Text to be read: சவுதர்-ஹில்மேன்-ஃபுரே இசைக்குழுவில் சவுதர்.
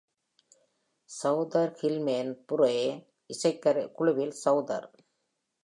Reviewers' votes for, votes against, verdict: 1, 2, rejected